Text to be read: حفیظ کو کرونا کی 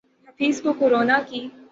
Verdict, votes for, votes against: accepted, 6, 0